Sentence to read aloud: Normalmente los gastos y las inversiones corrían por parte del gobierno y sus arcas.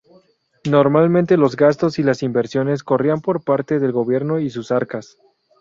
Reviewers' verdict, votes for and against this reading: accepted, 2, 0